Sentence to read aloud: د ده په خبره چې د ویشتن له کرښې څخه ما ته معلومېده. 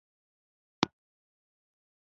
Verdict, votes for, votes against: rejected, 1, 2